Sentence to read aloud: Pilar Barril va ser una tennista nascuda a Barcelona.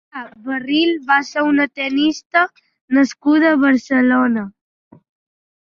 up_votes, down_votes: 0, 3